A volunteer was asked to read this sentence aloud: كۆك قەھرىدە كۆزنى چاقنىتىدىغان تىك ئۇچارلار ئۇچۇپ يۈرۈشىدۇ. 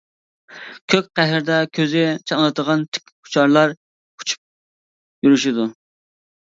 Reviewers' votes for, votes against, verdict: 1, 2, rejected